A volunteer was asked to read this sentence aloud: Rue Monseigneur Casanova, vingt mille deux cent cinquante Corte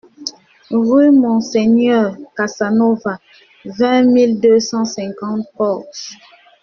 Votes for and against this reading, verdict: 0, 2, rejected